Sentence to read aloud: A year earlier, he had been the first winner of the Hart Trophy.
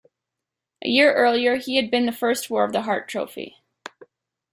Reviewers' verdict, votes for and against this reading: rejected, 1, 2